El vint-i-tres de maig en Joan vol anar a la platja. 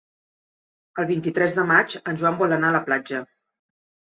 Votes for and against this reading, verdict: 3, 0, accepted